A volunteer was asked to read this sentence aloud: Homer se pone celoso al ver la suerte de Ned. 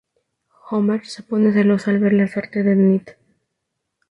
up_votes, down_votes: 2, 0